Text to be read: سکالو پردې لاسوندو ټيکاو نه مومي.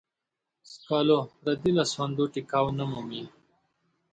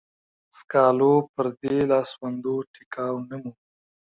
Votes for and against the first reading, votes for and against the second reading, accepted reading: 2, 0, 0, 2, first